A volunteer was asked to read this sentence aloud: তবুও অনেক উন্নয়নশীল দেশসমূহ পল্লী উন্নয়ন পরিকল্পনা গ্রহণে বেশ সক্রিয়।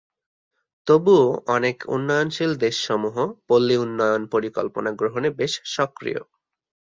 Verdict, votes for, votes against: accepted, 2, 0